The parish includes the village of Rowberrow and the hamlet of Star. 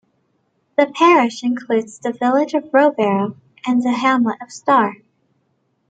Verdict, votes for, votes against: accepted, 2, 1